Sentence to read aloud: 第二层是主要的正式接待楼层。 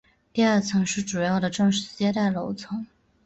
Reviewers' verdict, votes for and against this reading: accepted, 4, 0